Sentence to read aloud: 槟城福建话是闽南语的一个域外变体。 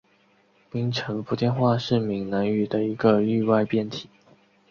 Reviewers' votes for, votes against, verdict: 2, 0, accepted